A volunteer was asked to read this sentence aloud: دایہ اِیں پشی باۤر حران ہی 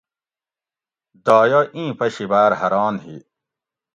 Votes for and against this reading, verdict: 2, 0, accepted